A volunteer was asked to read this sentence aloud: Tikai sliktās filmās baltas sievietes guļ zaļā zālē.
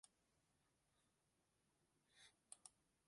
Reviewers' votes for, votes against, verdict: 0, 2, rejected